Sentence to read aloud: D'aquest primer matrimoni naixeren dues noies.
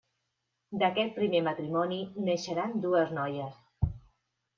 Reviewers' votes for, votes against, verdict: 0, 2, rejected